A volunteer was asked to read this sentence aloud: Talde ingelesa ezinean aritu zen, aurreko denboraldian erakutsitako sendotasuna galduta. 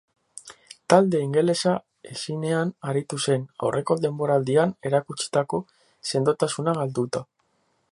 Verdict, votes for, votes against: accepted, 10, 0